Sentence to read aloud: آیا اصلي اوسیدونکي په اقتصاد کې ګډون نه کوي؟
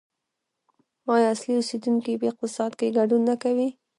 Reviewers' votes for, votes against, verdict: 0, 2, rejected